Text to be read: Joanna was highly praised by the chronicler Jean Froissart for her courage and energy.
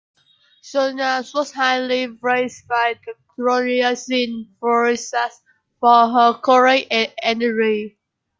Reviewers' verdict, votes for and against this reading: rejected, 0, 2